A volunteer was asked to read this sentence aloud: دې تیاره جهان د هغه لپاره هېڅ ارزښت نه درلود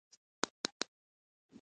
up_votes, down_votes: 1, 2